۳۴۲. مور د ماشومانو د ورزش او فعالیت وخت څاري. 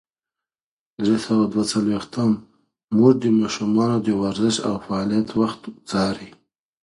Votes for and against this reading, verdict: 0, 2, rejected